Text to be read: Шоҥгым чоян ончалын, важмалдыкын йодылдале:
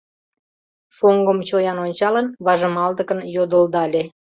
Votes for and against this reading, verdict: 2, 1, accepted